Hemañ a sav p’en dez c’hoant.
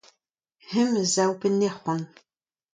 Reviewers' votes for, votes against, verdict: 2, 0, accepted